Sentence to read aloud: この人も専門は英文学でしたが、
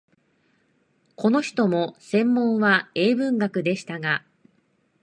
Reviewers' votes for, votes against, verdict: 2, 0, accepted